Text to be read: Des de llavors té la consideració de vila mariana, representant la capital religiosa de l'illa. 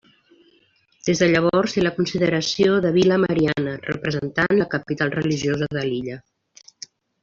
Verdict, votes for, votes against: accepted, 2, 1